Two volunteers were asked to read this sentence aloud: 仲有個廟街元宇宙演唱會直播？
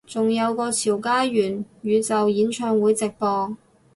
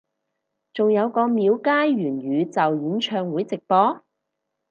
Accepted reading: second